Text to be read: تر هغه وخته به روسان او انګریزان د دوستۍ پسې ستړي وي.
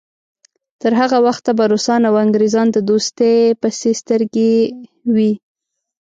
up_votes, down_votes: 0, 2